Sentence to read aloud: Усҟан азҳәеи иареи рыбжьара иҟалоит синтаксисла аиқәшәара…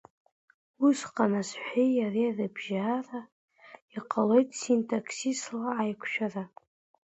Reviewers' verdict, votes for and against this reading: rejected, 1, 2